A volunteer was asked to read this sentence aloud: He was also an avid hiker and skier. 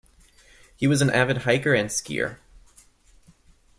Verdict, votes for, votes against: rejected, 1, 2